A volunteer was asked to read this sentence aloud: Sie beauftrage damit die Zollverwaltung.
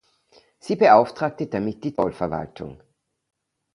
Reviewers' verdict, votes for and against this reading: rejected, 0, 2